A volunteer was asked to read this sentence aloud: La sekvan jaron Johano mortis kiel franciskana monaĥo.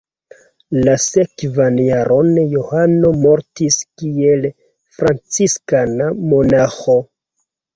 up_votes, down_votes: 2, 1